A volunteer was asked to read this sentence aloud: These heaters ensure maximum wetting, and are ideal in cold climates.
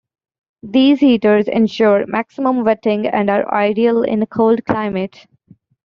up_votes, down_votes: 1, 2